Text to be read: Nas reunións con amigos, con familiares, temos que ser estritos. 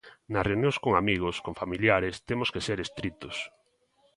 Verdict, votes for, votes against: accepted, 2, 1